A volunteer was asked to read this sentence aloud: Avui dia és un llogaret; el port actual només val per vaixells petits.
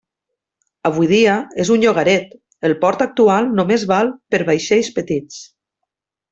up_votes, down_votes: 3, 0